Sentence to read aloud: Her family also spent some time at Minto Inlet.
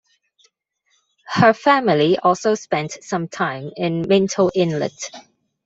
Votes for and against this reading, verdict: 2, 1, accepted